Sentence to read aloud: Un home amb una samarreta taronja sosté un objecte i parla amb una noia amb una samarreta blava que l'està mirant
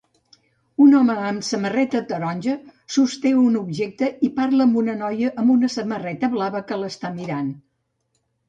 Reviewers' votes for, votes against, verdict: 1, 2, rejected